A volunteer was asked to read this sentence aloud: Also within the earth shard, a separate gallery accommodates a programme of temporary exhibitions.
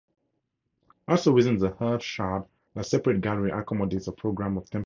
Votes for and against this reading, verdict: 2, 2, rejected